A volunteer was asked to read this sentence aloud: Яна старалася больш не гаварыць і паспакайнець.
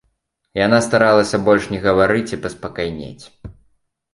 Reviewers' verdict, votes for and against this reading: accepted, 2, 0